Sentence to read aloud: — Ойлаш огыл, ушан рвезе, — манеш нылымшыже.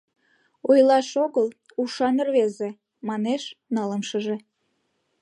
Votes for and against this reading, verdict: 2, 0, accepted